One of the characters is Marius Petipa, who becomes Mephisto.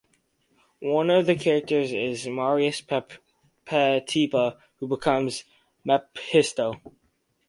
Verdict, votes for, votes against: rejected, 2, 2